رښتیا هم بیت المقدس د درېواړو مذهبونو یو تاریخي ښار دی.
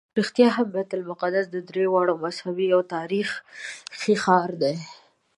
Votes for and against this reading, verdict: 1, 2, rejected